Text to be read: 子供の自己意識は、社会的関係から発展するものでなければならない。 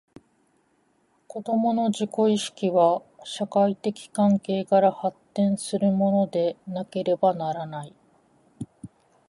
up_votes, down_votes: 1, 2